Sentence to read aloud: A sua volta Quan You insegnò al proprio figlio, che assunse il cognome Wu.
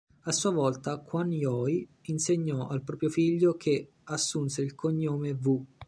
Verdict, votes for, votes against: rejected, 0, 2